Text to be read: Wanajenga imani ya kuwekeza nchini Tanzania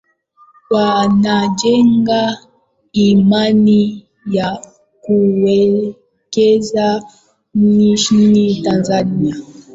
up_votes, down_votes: 0, 2